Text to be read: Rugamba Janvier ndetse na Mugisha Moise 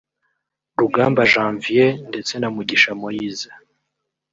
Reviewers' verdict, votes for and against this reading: rejected, 1, 2